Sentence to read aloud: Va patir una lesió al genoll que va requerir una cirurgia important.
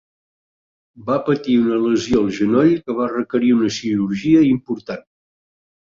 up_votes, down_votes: 5, 0